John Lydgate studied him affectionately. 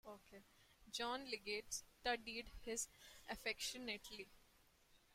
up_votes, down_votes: 0, 2